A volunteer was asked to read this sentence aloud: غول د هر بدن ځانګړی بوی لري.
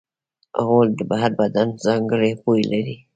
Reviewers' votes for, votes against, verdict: 2, 0, accepted